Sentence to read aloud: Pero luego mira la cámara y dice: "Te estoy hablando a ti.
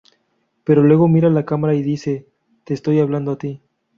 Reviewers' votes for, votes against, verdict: 2, 0, accepted